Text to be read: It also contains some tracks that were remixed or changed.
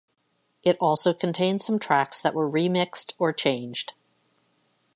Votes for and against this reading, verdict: 2, 1, accepted